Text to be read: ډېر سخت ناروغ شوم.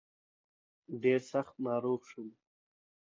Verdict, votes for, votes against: rejected, 0, 2